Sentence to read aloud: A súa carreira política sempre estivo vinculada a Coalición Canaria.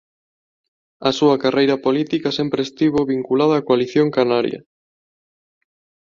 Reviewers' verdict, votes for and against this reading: accepted, 2, 1